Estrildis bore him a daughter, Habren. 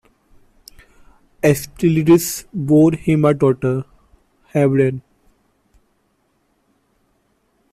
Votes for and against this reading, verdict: 1, 2, rejected